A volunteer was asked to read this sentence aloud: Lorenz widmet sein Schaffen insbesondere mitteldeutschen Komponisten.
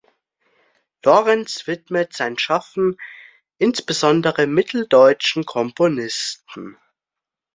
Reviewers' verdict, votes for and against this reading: accepted, 2, 0